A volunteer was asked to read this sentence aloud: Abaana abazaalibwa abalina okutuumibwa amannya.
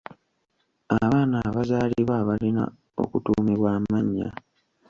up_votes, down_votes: 1, 2